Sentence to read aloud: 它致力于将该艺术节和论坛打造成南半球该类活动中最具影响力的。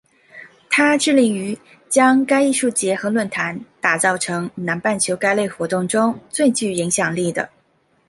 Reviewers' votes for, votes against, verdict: 2, 0, accepted